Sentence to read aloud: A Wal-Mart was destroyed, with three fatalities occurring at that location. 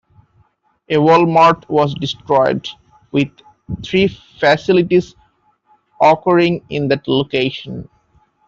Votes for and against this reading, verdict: 0, 2, rejected